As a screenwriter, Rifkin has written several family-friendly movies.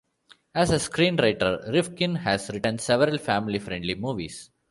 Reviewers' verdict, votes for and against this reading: accepted, 2, 0